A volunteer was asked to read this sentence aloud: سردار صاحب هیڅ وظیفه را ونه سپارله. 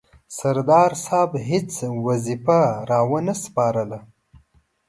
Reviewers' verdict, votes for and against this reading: accepted, 2, 0